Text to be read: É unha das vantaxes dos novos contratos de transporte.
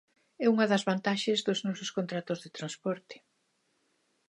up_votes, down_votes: 0, 2